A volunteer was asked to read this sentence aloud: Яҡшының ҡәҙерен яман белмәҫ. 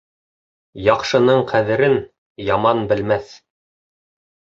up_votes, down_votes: 3, 0